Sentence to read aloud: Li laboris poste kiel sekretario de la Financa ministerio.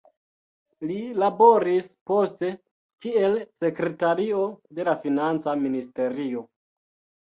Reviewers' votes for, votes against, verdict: 2, 0, accepted